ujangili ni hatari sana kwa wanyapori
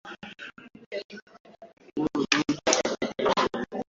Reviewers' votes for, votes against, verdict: 2, 6, rejected